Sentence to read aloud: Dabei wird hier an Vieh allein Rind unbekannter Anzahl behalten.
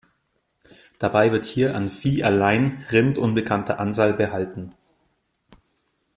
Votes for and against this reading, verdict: 2, 0, accepted